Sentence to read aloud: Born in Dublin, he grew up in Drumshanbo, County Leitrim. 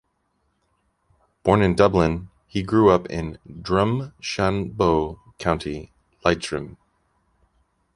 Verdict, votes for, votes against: accepted, 2, 0